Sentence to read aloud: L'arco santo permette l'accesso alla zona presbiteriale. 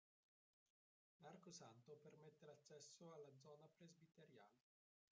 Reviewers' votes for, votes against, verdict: 0, 3, rejected